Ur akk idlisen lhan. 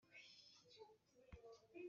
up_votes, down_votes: 0, 2